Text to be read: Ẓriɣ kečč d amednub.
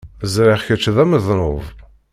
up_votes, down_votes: 0, 2